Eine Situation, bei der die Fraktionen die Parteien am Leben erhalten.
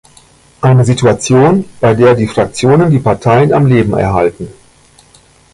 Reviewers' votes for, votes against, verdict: 2, 0, accepted